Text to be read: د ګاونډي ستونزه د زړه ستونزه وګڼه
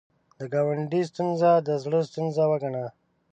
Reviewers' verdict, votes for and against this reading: accepted, 6, 0